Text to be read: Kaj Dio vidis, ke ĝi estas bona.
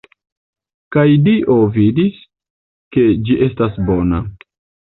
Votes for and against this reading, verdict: 2, 0, accepted